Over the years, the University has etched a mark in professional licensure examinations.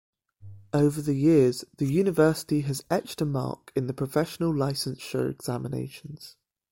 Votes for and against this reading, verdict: 2, 1, accepted